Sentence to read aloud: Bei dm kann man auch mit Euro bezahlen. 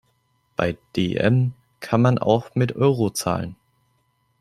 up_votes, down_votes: 1, 2